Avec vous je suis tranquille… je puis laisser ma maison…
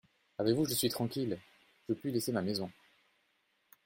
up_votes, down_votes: 2, 0